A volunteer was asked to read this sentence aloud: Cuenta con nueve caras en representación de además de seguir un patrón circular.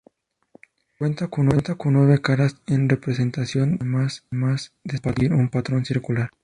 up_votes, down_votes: 0, 2